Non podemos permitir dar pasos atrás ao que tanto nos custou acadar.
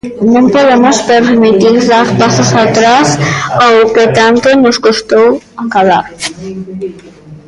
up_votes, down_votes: 0, 2